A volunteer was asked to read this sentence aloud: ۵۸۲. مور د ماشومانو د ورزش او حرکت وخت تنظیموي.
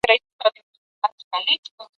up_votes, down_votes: 0, 2